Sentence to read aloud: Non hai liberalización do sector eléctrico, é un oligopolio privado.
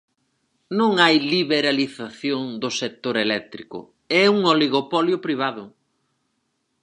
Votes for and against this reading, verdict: 4, 0, accepted